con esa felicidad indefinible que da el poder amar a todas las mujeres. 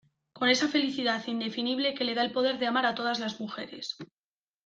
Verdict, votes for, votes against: accepted, 2, 1